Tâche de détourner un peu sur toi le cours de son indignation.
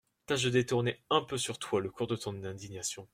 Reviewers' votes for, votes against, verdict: 0, 2, rejected